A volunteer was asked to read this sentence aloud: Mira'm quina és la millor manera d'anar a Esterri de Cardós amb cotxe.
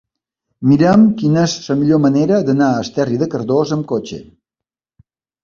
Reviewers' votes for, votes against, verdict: 1, 2, rejected